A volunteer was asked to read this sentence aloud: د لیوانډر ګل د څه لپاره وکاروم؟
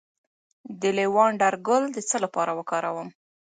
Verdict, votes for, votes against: rejected, 0, 2